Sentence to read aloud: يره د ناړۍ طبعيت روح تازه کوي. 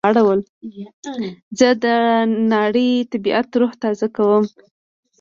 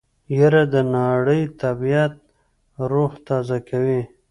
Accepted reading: second